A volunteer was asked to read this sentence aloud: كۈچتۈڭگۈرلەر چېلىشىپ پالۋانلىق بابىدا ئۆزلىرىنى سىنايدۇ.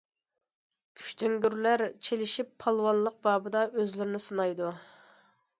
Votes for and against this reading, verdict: 2, 0, accepted